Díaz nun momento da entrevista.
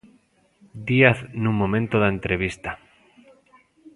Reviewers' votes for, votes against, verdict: 2, 0, accepted